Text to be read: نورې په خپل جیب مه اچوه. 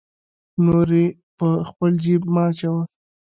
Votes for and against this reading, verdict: 3, 2, accepted